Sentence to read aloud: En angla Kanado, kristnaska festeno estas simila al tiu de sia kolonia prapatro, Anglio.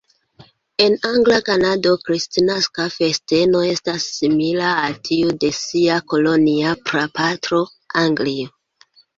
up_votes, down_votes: 2, 0